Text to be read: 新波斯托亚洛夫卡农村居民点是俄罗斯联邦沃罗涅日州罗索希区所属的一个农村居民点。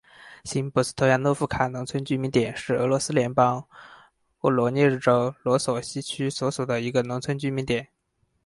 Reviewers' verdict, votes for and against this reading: accepted, 4, 2